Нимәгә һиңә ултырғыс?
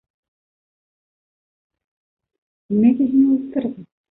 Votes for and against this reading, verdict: 1, 2, rejected